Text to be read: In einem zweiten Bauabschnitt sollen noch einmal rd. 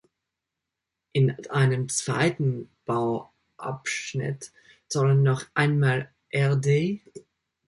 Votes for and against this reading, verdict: 2, 1, accepted